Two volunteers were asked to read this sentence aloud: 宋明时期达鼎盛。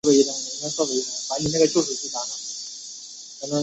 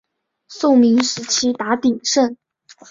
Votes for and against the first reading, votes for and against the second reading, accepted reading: 0, 3, 5, 0, second